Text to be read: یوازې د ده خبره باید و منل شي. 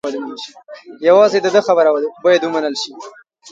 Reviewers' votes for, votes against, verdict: 1, 2, rejected